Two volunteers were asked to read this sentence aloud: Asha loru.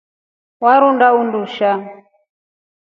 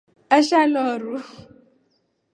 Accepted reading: second